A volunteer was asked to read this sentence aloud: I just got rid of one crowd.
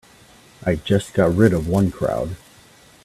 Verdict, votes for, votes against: accepted, 2, 0